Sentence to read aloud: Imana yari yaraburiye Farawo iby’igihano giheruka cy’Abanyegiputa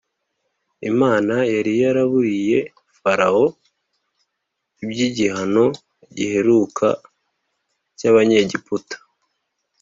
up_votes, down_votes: 2, 0